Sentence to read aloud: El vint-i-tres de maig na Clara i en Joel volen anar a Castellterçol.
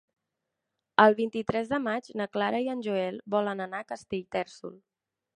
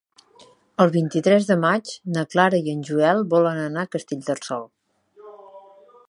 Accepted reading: second